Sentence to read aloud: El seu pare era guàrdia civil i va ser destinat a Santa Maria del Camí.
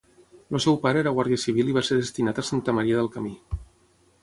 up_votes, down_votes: 3, 6